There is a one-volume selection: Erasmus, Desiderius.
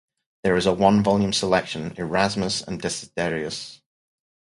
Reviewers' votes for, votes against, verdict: 0, 2, rejected